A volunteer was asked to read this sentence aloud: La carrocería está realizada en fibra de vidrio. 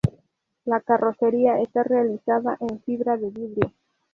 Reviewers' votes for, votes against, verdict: 0, 4, rejected